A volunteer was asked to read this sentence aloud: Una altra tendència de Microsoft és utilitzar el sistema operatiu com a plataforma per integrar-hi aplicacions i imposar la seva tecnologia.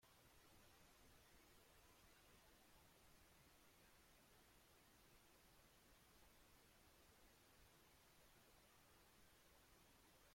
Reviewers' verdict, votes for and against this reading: rejected, 0, 2